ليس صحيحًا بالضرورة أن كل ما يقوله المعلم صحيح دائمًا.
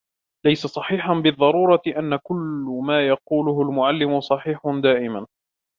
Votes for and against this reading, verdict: 2, 1, accepted